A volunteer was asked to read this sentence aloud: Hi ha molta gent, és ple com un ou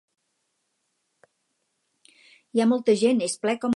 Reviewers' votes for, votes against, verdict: 0, 4, rejected